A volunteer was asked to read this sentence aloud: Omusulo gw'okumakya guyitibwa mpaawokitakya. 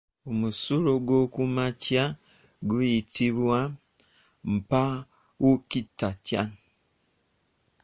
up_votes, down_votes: 1, 2